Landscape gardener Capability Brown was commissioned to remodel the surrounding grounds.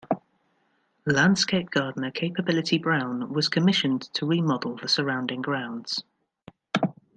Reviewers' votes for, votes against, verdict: 2, 0, accepted